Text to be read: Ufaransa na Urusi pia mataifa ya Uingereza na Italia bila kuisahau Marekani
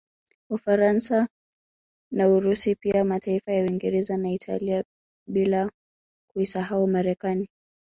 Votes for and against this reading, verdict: 1, 2, rejected